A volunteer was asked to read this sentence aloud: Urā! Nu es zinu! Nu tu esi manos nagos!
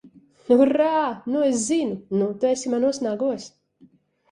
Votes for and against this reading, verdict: 2, 0, accepted